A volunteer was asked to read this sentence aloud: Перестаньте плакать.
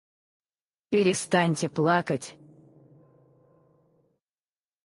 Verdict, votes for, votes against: rejected, 0, 4